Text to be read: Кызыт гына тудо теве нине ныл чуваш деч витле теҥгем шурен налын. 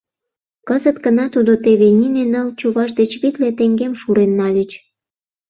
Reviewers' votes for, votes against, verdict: 0, 2, rejected